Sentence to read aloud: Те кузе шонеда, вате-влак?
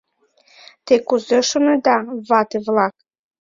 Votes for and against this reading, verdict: 2, 0, accepted